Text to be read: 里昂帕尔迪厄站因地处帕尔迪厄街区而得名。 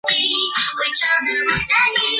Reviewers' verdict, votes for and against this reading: rejected, 0, 2